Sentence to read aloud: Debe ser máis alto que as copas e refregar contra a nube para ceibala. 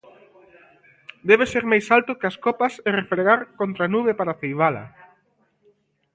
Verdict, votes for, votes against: accepted, 2, 0